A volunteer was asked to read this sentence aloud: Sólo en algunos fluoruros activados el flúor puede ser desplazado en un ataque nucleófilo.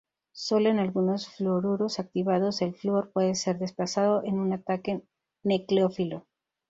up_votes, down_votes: 2, 2